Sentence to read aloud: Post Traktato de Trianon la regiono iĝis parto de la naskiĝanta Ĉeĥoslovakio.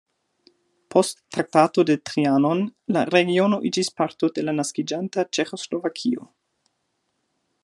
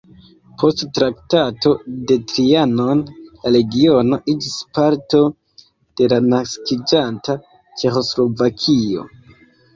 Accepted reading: first